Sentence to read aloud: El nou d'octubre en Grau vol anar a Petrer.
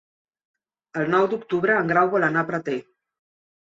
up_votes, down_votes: 1, 2